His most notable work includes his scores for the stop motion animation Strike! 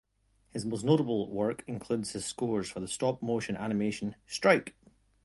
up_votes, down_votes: 3, 1